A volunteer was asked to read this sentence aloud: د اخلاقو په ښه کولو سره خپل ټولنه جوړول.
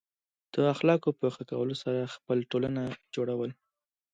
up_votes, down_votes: 2, 0